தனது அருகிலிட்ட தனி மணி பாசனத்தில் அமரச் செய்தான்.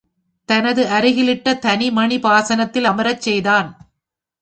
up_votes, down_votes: 5, 0